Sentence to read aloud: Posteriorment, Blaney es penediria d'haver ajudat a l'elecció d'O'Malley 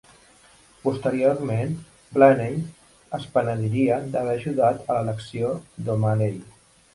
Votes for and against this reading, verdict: 2, 0, accepted